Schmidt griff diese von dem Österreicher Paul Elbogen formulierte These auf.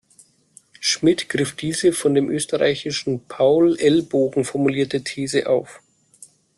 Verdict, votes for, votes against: rejected, 0, 2